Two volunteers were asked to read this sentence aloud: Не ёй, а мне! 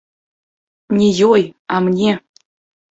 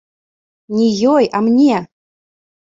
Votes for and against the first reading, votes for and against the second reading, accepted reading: 1, 2, 2, 0, second